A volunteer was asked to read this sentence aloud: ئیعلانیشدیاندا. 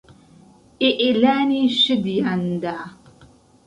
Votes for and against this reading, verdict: 1, 2, rejected